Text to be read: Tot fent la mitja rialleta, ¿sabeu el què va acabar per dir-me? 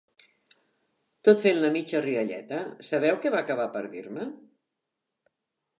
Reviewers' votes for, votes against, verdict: 0, 3, rejected